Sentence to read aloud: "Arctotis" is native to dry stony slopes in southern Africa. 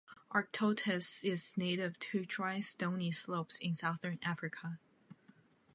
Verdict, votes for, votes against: accepted, 2, 0